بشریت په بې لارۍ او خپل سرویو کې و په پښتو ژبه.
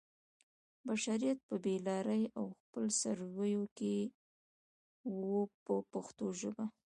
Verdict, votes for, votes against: rejected, 1, 2